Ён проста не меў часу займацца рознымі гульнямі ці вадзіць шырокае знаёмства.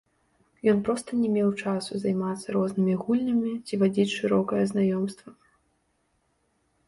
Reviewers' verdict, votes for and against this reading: rejected, 1, 2